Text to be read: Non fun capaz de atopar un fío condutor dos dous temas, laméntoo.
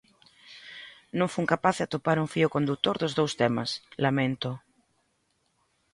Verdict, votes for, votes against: accepted, 2, 0